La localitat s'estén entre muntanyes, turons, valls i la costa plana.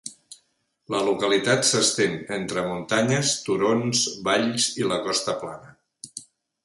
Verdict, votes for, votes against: accepted, 3, 0